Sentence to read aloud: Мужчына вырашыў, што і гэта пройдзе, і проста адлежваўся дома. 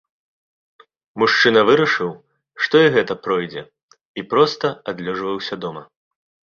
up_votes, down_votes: 2, 0